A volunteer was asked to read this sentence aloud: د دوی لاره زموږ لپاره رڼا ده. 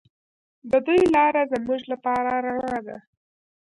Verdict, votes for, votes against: rejected, 1, 2